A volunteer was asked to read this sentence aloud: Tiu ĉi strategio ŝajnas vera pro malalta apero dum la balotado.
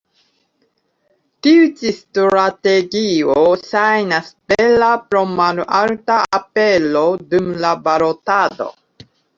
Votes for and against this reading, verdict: 0, 2, rejected